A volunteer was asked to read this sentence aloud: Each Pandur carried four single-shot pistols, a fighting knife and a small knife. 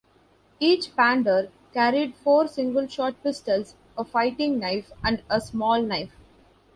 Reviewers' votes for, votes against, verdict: 2, 0, accepted